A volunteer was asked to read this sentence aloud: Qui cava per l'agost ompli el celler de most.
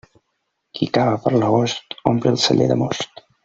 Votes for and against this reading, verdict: 0, 2, rejected